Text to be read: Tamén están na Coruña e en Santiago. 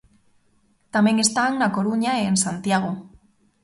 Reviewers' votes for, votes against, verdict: 2, 0, accepted